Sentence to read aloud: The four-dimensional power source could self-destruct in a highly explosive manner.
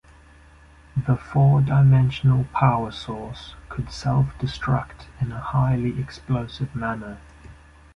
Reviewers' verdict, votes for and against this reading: accepted, 2, 0